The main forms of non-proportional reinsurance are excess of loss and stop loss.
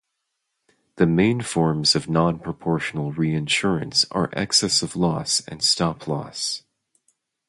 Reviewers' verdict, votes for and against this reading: rejected, 2, 2